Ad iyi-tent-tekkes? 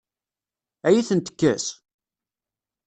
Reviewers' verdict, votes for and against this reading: accepted, 2, 0